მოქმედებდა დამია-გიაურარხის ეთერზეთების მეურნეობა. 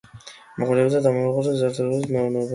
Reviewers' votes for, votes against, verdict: 2, 3, rejected